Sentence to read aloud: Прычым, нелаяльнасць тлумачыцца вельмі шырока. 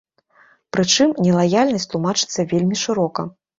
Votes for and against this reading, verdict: 2, 0, accepted